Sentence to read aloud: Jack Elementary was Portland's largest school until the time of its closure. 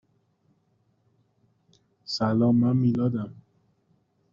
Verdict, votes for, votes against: rejected, 0, 2